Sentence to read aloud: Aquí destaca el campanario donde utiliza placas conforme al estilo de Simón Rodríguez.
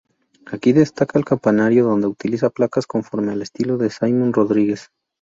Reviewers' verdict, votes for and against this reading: rejected, 2, 2